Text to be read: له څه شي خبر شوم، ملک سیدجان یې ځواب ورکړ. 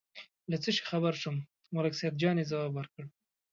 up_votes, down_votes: 2, 0